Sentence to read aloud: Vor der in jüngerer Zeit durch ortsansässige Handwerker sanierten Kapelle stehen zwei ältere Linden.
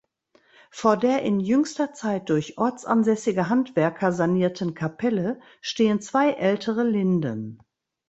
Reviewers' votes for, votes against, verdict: 0, 2, rejected